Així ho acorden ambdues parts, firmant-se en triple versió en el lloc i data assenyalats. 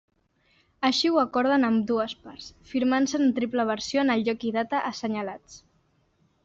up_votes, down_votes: 2, 0